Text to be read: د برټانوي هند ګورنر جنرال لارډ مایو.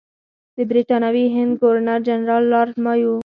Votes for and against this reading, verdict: 2, 4, rejected